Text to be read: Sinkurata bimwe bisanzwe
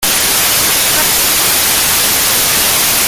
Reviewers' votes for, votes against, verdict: 0, 2, rejected